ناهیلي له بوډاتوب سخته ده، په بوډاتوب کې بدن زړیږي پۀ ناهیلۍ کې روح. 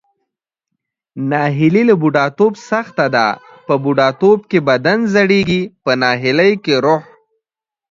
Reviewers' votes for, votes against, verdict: 2, 1, accepted